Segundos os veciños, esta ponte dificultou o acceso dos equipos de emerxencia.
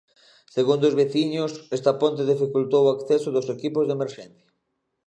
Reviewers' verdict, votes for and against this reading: accepted, 2, 0